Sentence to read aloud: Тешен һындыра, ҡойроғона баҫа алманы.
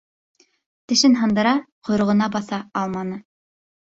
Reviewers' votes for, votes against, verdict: 1, 2, rejected